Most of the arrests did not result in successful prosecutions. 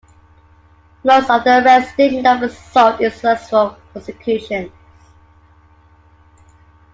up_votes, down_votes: 1, 2